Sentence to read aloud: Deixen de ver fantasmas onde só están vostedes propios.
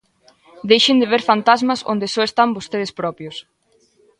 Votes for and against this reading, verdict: 2, 0, accepted